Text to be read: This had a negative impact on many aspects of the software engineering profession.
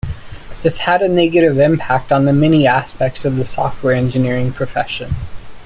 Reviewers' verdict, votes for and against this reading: rejected, 0, 2